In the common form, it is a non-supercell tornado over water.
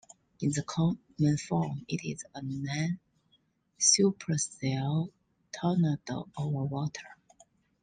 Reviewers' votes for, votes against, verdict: 2, 1, accepted